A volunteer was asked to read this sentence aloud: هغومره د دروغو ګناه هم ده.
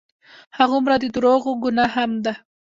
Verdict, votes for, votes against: rejected, 0, 2